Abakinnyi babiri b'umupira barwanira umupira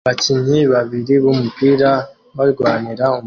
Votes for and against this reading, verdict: 1, 2, rejected